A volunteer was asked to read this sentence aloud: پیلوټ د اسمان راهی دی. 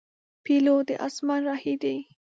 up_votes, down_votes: 2, 0